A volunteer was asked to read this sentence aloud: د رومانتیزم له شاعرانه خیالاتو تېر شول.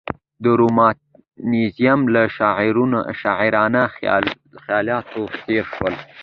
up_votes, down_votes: 0, 2